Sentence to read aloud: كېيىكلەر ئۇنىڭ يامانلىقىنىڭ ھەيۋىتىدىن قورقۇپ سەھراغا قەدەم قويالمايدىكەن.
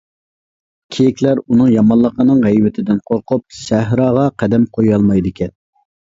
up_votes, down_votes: 2, 0